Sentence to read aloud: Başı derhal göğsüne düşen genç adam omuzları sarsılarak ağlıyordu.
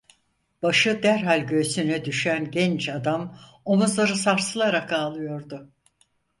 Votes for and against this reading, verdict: 4, 0, accepted